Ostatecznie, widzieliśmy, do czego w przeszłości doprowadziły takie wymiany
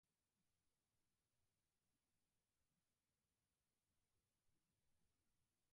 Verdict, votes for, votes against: rejected, 0, 2